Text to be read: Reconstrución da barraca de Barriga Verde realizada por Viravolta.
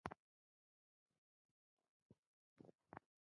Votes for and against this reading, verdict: 0, 2, rejected